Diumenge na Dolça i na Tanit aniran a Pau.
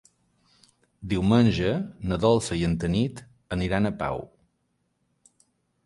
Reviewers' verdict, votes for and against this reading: rejected, 0, 3